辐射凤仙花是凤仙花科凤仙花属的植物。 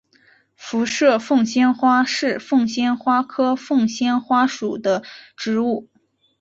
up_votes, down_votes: 6, 0